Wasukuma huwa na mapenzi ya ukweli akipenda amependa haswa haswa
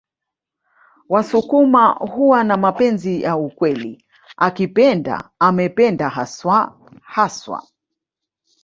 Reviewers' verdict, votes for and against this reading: accepted, 2, 0